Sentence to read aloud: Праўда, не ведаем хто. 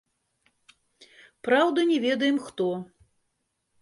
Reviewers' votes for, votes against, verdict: 0, 2, rejected